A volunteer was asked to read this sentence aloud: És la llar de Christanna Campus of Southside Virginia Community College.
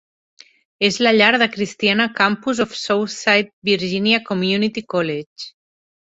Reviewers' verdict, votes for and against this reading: rejected, 1, 2